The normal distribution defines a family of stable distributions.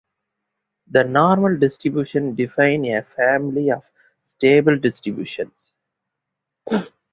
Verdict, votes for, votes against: rejected, 1, 2